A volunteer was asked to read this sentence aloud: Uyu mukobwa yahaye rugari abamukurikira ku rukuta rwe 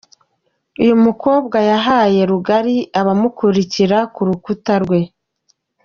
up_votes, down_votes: 2, 0